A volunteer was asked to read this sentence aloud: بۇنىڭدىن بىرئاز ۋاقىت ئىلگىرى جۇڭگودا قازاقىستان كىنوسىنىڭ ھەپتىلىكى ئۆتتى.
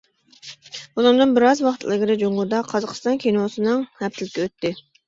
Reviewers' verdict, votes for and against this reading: rejected, 0, 2